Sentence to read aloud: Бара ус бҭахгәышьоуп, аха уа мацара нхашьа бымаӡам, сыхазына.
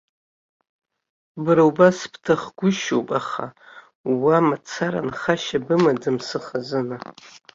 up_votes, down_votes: 1, 2